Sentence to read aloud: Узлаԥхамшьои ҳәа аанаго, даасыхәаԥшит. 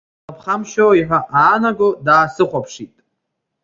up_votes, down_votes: 0, 2